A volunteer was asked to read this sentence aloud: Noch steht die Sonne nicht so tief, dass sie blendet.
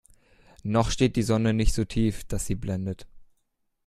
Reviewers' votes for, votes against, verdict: 2, 0, accepted